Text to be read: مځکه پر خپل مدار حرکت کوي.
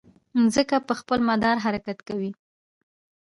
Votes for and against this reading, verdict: 1, 2, rejected